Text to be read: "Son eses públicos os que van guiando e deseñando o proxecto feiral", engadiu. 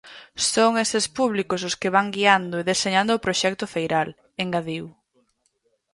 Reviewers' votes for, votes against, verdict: 2, 2, rejected